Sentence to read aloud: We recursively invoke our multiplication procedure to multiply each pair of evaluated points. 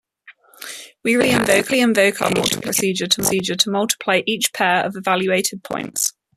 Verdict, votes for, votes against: rejected, 0, 2